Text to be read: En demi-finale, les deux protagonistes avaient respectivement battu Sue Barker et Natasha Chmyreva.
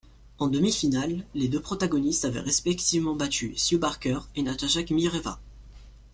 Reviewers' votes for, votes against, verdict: 2, 0, accepted